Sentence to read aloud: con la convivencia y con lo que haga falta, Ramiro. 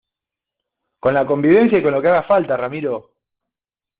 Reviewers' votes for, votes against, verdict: 2, 0, accepted